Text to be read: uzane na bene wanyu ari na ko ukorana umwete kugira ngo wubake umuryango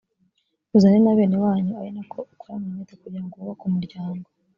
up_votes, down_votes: 2, 0